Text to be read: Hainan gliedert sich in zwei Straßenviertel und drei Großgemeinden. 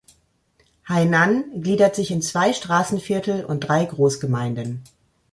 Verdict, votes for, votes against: accepted, 3, 0